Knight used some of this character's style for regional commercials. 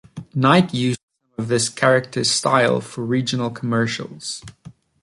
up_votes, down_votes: 1, 2